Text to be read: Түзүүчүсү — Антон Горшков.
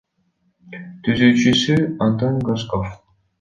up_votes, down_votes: 1, 2